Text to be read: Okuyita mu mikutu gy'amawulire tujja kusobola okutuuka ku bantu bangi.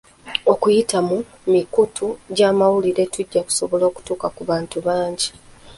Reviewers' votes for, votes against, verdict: 2, 0, accepted